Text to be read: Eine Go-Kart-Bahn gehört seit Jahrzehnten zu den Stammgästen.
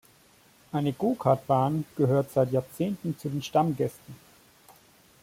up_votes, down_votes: 2, 0